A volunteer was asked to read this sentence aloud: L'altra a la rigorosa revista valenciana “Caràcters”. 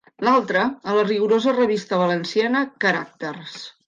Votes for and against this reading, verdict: 2, 0, accepted